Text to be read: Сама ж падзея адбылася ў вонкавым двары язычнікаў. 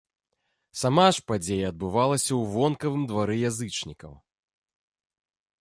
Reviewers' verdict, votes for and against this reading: rejected, 2, 3